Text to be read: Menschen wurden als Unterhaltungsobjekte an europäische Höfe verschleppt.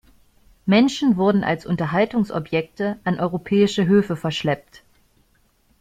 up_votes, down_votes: 2, 0